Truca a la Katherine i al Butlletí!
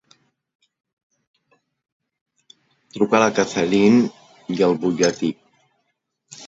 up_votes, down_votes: 1, 2